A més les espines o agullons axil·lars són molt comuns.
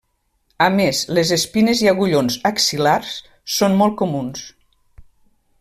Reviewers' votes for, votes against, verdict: 0, 2, rejected